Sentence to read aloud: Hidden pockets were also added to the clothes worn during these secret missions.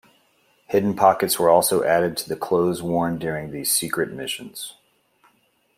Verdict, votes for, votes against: accepted, 2, 0